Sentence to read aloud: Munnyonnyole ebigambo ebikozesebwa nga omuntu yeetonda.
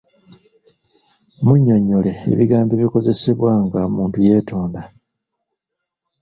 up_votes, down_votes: 2, 0